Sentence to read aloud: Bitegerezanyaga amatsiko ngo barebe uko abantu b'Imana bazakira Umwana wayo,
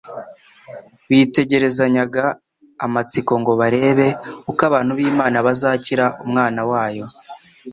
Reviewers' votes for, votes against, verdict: 2, 0, accepted